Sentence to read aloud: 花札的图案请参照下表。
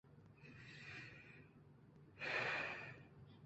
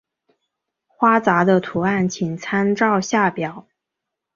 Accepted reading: second